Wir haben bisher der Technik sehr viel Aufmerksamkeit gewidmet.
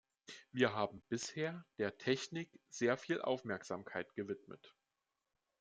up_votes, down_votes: 2, 0